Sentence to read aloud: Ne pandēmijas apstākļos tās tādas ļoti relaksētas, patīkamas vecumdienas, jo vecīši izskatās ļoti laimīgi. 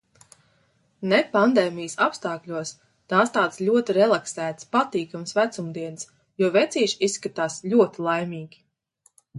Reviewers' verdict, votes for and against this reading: accepted, 2, 0